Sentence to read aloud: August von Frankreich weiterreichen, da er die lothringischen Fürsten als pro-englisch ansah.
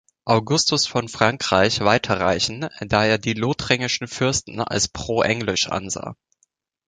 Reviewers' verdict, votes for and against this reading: rejected, 0, 2